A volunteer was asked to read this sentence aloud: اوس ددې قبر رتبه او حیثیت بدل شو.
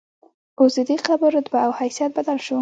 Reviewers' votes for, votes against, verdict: 2, 1, accepted